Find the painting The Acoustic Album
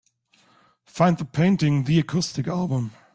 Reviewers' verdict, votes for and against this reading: accepted, 2, 1